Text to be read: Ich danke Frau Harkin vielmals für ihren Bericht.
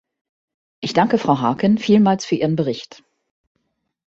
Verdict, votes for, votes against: accepted, 2, 0